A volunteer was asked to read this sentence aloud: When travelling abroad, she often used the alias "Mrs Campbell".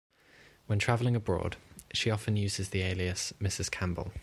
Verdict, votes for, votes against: accepted, 2, 0